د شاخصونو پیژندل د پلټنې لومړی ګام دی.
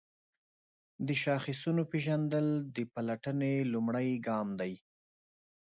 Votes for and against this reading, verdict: 2, 0, accepted